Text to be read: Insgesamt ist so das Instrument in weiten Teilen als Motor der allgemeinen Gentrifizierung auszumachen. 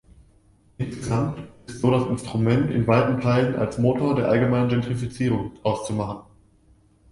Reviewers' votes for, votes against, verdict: 2, 0, accepted